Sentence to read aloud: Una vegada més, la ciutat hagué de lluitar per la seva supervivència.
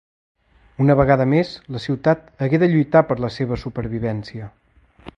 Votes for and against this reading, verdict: 2, 0, accepted